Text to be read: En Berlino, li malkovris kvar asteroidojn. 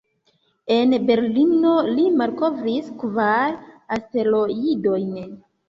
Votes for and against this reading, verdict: 1, 2, rejected